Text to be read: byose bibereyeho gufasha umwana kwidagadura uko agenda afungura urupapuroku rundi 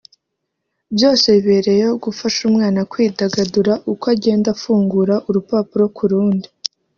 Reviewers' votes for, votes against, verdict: 1, 2, rejected